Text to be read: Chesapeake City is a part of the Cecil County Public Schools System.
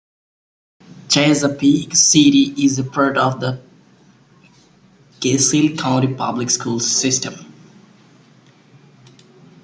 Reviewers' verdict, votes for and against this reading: rejected, 1, 2